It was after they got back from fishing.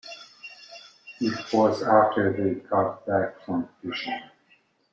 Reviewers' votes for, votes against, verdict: 1, 2, rejected